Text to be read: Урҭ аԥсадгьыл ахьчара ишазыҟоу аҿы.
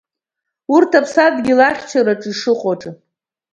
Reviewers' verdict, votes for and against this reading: rejected, 1, 2